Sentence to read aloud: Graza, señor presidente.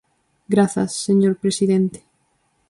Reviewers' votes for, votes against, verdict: 0, 2, rejected